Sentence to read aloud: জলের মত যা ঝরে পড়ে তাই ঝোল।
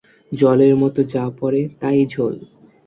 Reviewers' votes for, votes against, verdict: 1, 3, rejected